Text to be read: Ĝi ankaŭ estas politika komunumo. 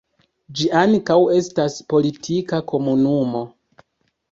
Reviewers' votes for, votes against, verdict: 1, 2, rejected